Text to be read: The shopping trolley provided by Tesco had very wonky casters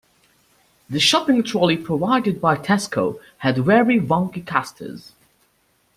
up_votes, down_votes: 2, 0